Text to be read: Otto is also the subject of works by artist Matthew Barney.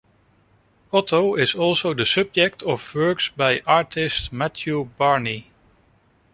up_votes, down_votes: 2, 0